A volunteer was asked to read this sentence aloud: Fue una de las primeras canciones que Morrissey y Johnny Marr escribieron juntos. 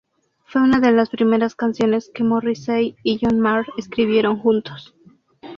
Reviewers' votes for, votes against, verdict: 0, 2, rejected